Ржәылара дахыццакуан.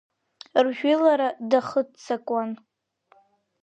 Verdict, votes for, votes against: accepted, 2, 0